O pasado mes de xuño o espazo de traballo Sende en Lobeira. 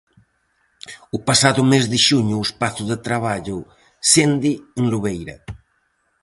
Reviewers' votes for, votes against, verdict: 4, 0, accepted